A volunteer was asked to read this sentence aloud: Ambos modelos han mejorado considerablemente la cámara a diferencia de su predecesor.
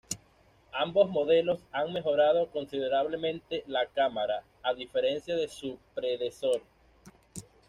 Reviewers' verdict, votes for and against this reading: rejected, 1, 2